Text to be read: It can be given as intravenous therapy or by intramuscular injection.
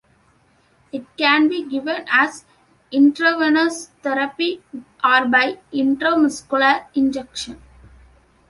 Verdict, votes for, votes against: accepted, 2, 0